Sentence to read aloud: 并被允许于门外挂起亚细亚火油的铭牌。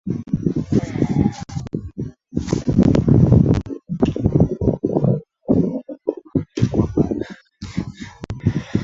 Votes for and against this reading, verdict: 0, 2, rejected